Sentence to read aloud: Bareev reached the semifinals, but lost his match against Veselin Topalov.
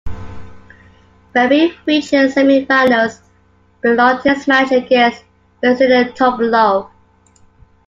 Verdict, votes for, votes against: rejected, 0, 2